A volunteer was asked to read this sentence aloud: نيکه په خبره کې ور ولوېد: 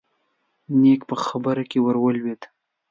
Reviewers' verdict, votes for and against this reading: rejected, 1, 2